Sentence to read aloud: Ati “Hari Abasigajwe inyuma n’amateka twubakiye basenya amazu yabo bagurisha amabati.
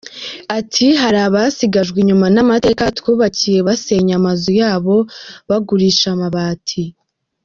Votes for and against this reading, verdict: 0, 2, rejected